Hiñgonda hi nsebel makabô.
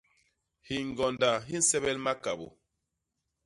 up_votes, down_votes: 2, 0